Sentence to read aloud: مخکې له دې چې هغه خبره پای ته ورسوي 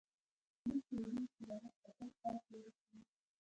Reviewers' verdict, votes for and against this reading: rejected, 0, 2